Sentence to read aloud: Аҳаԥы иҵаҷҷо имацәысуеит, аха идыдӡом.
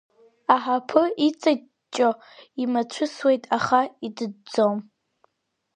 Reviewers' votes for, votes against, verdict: 2, 0, accepted